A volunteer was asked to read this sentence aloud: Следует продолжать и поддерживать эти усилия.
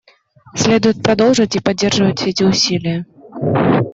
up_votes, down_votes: 1, 2